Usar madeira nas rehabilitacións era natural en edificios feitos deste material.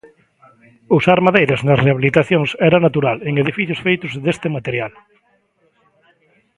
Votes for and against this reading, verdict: 2, 1, accepted